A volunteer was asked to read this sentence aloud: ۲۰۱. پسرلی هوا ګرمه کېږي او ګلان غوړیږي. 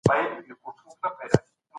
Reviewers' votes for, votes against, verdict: 0, 2, rejected